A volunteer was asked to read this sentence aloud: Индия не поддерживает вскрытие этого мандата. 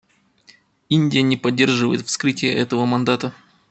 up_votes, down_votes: 2, 0